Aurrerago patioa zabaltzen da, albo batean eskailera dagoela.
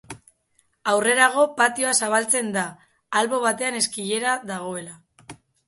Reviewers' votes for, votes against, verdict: 0, 2, rejected